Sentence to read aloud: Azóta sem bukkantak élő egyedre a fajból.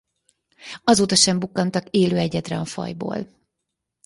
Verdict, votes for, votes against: accepted, 4, 0